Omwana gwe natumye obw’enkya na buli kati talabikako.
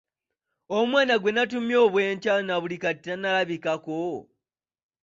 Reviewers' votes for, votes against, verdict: 2, 1, accepted